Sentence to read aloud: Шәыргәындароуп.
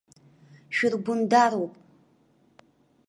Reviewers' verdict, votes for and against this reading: rejected, 0, 2